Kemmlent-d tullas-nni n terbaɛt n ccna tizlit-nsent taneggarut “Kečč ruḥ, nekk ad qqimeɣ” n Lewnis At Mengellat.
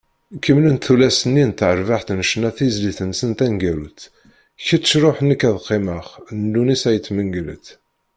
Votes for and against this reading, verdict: 2, 0, accepted